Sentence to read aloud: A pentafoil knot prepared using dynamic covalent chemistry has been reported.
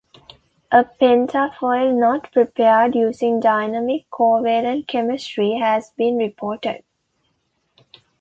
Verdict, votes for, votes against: accepted, 2, 0